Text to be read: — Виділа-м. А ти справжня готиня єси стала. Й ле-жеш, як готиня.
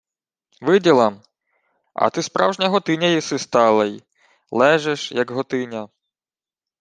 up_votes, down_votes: 1, 2